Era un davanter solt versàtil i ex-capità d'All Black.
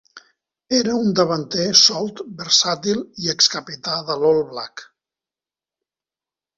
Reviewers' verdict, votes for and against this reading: rejected, 1, 2